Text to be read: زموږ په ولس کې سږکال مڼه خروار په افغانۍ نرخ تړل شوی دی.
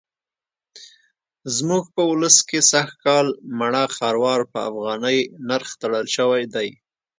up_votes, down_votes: 2, 0